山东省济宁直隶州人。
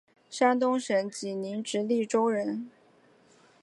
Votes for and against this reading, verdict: 3, 1, accepted